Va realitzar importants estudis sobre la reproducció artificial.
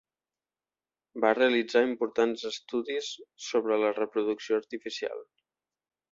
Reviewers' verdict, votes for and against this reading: accepted, 3, 0